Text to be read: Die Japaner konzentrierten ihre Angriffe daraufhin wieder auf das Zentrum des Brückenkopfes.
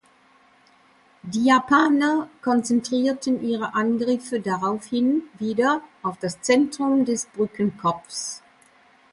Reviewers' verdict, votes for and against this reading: rejected, 0, 2